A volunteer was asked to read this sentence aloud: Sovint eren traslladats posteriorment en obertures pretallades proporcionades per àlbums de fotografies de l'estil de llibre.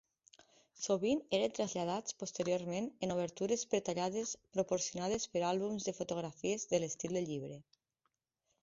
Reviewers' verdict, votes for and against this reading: accepted, 2, 0